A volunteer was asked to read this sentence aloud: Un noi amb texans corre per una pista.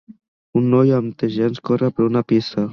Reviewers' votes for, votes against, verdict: 1, 2, rejected